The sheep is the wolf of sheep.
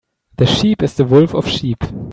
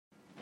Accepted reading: first